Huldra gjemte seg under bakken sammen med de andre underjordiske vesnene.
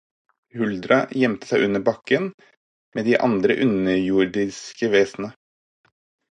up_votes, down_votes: 0, 4